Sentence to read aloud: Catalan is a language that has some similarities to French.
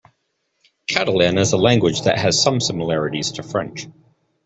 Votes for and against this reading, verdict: 2, 0, accepted